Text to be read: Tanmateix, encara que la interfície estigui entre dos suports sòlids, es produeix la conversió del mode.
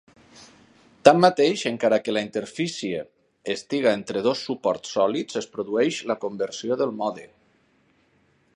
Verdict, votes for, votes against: accepted, 6, 4